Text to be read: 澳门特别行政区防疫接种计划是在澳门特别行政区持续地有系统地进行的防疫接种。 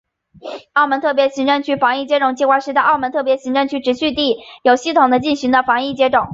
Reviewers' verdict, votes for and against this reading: accepted, 2, 1